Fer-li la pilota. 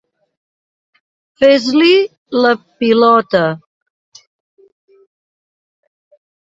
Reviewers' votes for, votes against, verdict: 1, 2, rejected